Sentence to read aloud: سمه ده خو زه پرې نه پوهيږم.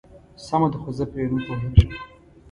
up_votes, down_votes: 0, 2